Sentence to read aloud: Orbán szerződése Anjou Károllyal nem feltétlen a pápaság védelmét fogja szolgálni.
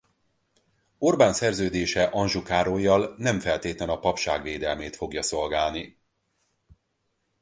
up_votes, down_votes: 0, 4